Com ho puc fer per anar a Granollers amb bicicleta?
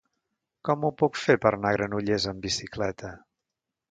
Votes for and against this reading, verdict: 0, 2, rejected